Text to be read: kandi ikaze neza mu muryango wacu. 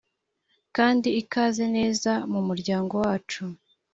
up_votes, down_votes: 3, 0